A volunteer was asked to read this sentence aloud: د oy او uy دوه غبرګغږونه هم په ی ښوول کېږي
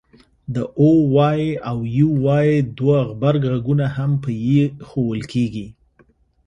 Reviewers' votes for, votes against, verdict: 1, 2, rejected